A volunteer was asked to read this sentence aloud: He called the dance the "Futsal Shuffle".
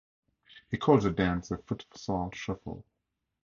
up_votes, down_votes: 2, 0